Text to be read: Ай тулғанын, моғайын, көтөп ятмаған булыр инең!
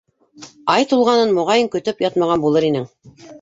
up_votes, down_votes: 3, 0